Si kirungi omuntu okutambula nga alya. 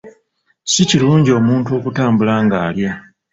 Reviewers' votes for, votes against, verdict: 2, 1, accepted